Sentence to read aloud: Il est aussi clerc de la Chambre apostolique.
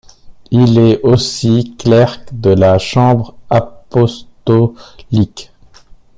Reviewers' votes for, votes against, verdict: 1, 2, rejected